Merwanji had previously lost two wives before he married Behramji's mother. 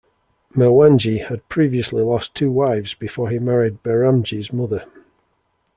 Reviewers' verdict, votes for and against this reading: accepted, 2, 0